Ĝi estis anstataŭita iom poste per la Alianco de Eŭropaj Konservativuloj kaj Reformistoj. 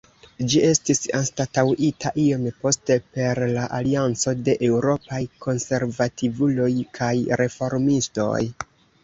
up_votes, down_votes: 2, 0